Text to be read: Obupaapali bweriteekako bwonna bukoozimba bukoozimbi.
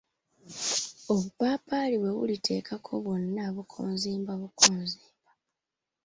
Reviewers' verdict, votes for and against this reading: rejected, 3, 5